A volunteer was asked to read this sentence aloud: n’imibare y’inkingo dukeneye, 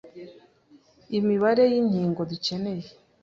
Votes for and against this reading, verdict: 0, 2, rejected